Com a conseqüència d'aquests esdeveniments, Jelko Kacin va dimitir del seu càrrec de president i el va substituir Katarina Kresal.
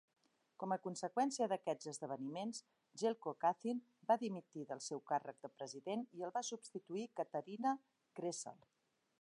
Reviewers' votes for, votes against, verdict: 2, 0, accepted